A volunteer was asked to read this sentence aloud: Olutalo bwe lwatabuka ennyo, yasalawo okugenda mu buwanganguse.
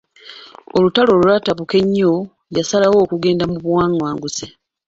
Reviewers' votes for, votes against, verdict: 1, 2, rejected